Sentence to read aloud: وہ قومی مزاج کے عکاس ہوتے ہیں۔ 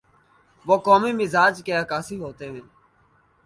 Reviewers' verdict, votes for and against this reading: rejected, 1, 2